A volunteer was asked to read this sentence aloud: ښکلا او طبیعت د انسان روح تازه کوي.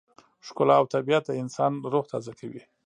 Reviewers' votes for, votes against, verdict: 1, 2, rejected